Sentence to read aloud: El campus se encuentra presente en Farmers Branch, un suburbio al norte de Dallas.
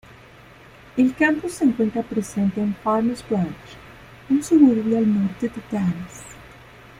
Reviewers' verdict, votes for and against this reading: accepted, 2, 0